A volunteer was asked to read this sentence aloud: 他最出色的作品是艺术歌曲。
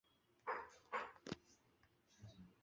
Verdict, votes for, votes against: rejected, 1, 2